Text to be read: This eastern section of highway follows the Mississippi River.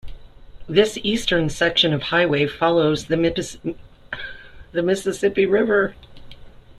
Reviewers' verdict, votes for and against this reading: rejected, 0, 2